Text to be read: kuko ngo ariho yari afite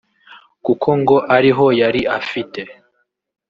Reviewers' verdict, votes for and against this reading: rejected, 1, 2